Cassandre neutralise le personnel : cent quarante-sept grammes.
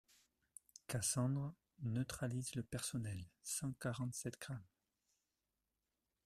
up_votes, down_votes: 2, 0